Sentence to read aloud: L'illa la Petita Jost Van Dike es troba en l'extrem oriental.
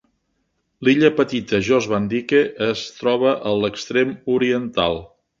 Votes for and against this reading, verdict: 0, 2, rejected